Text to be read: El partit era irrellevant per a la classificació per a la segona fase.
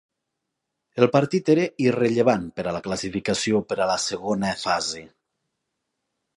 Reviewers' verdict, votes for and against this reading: accepted, 3, 0